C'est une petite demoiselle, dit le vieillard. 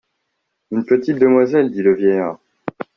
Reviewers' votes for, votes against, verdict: 0, 2, rejected